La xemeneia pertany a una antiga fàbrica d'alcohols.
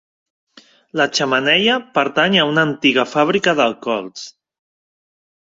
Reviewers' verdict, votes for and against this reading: accepted, 2, 0